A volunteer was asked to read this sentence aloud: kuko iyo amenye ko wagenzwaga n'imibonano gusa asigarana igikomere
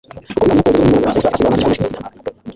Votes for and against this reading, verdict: 1, 2, rejected